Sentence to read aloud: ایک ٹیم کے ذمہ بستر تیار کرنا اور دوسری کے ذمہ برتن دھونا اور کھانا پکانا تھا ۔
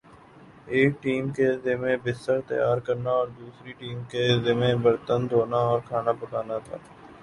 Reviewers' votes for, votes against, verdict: 2, 2, rejected